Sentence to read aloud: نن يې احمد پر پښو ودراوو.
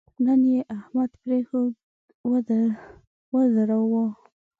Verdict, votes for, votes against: rejected, 2, 4